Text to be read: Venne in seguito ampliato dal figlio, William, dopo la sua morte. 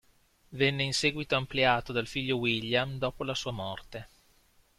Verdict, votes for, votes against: rejected, 1, 2